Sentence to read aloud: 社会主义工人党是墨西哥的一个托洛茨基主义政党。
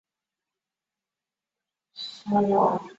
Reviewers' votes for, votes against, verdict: 0, 2, rejected